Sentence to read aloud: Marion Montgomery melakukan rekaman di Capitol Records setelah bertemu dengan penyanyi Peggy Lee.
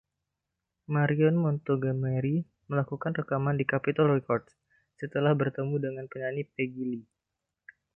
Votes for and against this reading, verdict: 1, 2, rejected